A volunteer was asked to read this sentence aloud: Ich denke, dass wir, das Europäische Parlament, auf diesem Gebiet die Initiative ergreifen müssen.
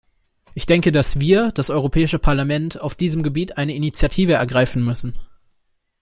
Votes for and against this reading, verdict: 0, 2, rejected